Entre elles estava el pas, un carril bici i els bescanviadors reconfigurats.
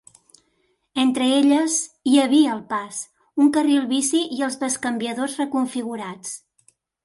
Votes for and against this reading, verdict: 0, 2, rejected